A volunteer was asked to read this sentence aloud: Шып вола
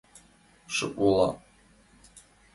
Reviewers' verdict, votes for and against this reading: accepted, 2, 0